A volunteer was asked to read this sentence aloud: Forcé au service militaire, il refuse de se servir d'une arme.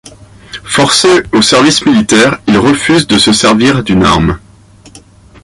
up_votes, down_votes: 2, 0